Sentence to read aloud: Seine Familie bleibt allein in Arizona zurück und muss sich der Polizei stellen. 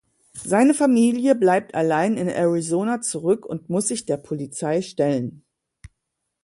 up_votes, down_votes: 2, 0